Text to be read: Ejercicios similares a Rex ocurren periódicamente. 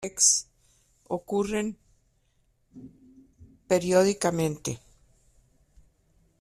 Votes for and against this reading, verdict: 0, 2, rejected